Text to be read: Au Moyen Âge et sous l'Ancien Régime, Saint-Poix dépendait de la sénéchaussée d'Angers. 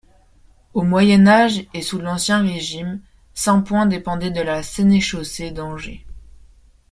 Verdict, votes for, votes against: rejected, 0, 2